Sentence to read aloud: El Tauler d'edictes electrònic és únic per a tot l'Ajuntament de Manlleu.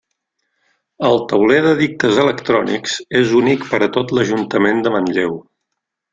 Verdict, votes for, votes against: rejected, 1, 2